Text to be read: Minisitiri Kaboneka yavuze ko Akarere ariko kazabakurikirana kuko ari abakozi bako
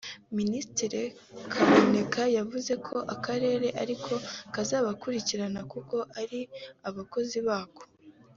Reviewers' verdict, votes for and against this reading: accepted, 3, 0